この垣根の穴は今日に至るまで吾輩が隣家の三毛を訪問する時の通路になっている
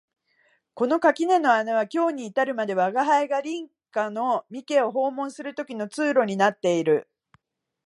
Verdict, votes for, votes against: accepted, 3, 1